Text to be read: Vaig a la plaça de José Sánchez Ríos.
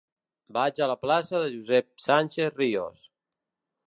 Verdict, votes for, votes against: rejected, 0, 2